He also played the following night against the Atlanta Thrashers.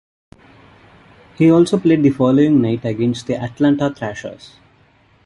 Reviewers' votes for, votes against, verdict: 2, 0, accepted